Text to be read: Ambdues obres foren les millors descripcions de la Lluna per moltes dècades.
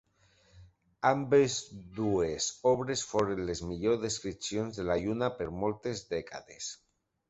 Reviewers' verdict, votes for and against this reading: rejected, 0, 2